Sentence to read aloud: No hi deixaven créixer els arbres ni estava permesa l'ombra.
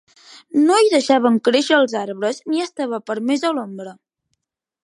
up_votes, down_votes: 2, 1